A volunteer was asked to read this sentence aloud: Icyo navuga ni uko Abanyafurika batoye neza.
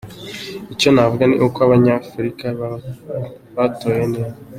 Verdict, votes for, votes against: rejected, 1, 2